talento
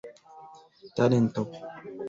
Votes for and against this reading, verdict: 0, 2, rejected